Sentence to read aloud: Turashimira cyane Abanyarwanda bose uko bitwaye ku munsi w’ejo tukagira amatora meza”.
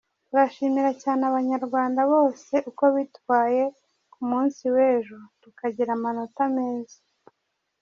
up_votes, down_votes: 0, 2